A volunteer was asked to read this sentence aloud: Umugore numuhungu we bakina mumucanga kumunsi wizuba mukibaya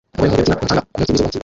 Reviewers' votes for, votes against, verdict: 0, 2, rejected